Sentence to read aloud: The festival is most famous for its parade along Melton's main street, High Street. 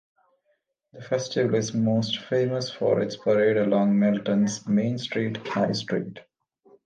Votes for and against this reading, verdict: 2, 1, accepted